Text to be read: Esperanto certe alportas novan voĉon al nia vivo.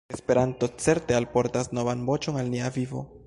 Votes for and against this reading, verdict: 0, 2, rejected